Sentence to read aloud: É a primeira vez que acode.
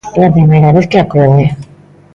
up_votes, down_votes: 2, 1